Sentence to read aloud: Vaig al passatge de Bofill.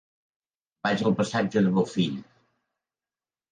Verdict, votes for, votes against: accepted, 3, 0